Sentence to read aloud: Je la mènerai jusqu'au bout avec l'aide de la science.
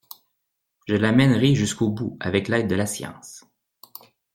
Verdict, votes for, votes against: accepted, 2, 0